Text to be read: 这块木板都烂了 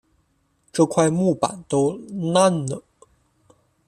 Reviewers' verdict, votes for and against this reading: accepted, 2, 0